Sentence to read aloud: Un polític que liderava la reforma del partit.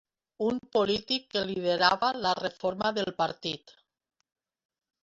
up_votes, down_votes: 2, 0